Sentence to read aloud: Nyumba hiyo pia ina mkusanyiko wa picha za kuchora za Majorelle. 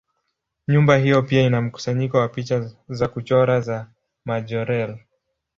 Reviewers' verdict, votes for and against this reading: rejected, 3, 3